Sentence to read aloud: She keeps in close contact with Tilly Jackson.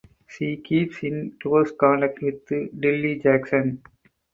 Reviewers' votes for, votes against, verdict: 0, 4, rejected